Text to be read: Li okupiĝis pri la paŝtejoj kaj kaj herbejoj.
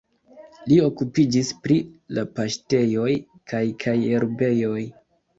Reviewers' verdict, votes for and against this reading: accepted, 2, 1